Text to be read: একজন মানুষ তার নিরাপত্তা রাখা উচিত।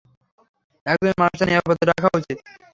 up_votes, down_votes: 0, 3